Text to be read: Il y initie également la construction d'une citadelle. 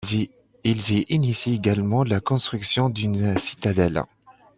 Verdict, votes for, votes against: accepted, 2, 1